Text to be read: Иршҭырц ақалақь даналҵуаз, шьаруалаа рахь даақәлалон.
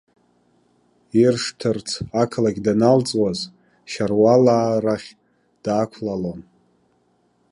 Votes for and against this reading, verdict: 0, 2, rejected